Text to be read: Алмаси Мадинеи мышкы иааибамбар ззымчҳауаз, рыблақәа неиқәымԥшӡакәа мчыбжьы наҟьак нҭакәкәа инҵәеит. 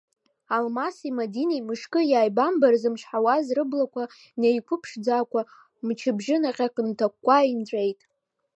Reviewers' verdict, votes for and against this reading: accepted, 2, 0